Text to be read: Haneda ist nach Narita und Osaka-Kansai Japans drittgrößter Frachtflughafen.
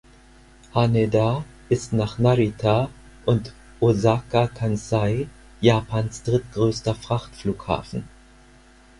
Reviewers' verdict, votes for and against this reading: accepted, 4, 0